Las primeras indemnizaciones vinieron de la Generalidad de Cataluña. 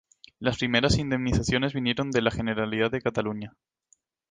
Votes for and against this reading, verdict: 2, 0, accepted